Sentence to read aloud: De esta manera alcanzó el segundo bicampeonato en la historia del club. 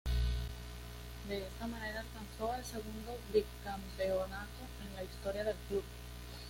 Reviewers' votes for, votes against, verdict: 2, 0, accepted